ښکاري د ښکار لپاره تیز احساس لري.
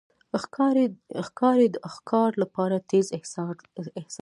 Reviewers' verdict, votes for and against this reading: rejected, 1, 2